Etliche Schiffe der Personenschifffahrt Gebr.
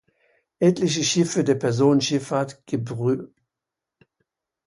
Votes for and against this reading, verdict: 0, 2, rejected